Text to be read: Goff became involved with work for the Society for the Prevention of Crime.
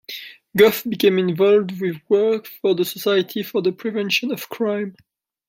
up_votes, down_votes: 0, 2